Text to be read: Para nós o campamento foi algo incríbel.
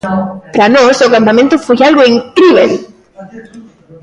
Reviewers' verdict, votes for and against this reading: rejected, 0, 2